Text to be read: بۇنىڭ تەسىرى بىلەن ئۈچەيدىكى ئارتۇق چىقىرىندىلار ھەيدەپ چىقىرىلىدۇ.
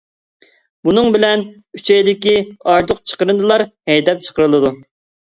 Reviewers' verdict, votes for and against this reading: rejected, 0, 2